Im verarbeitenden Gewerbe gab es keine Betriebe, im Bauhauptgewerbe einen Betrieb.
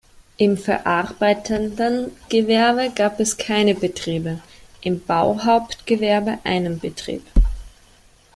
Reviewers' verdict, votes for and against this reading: accepted, 2, 1